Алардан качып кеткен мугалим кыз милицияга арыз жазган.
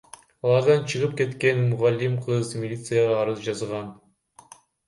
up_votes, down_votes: 0, 2